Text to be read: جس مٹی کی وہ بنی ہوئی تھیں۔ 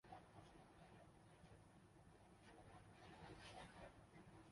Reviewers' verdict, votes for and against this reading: rejected, 0, 2